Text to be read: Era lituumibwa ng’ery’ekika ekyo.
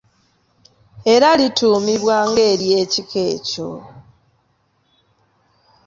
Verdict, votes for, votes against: accepted, 2, 0